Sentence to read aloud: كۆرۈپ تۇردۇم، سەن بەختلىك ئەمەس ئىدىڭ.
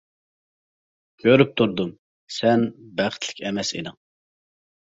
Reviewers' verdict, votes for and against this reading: accepted, 2, 0